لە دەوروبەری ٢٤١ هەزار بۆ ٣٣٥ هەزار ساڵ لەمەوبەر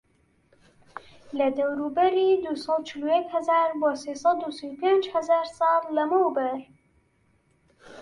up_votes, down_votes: 0, 2